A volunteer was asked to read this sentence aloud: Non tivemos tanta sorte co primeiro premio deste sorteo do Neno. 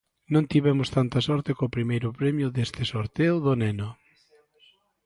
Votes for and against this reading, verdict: 2, 0, accepted